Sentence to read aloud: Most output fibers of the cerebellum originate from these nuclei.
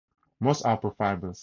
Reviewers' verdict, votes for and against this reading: rejected, 0, 2